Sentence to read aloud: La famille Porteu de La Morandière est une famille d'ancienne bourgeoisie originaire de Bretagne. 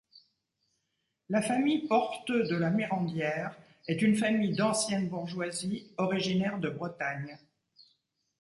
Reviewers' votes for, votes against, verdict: 2, 1, accepted